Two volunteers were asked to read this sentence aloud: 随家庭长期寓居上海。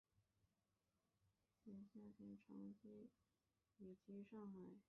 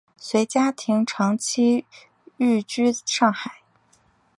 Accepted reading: second